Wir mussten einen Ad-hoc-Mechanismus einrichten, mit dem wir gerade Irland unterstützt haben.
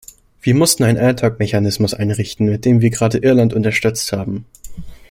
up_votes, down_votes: 1, 2